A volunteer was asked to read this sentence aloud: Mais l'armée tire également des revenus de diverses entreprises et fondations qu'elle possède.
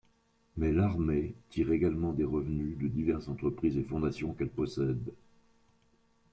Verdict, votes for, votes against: rejected, 1, 2